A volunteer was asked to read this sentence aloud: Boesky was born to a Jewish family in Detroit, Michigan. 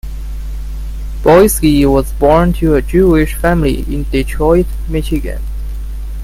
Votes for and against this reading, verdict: 2, 1, accepted